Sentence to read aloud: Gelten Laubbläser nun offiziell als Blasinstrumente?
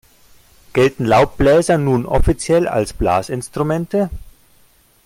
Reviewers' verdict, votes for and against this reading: accepted, 2, 0